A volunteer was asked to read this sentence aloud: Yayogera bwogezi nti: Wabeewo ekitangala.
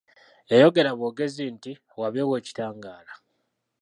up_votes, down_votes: 1, 2